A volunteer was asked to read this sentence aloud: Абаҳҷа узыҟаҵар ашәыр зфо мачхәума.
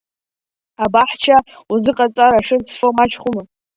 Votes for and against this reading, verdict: 0, 2, rejected